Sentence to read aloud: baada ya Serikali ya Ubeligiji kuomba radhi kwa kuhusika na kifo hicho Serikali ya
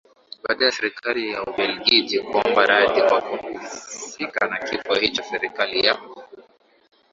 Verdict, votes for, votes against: accepted, 2, 0